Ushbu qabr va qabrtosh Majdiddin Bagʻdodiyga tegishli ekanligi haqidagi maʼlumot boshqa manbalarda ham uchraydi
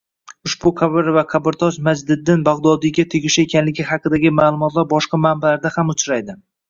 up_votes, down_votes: 1, 2